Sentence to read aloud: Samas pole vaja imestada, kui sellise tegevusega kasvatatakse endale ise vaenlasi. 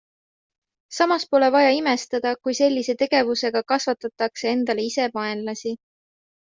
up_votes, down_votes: 2, 0